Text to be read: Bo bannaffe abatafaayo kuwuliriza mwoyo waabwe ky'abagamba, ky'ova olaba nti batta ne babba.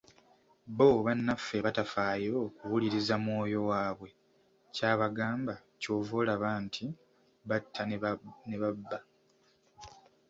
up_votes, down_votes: 1, 2